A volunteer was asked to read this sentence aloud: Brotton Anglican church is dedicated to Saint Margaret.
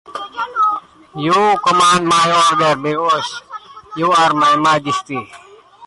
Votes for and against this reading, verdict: 0, 2, rejected